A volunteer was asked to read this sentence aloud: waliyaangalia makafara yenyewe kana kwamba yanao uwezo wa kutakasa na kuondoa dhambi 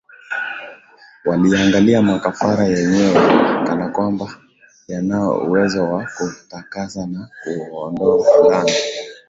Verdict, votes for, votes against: rejected, 4, 5